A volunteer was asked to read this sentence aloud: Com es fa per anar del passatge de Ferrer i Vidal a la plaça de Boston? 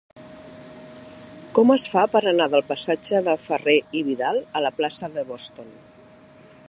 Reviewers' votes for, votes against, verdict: 0, 2, rejected